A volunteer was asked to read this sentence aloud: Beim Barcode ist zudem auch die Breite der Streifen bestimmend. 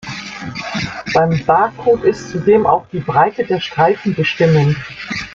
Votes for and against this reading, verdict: 0, 2, rejected